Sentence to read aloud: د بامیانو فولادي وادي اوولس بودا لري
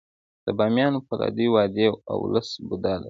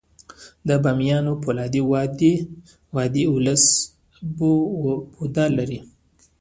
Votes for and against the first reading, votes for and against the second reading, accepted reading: 2, 0, 1, 2, first